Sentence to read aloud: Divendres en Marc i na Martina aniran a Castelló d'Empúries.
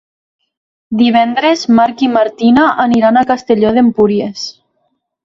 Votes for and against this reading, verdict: 0, 2, rejected